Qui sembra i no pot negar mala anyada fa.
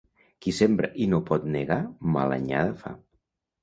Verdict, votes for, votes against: rejected, 1, 2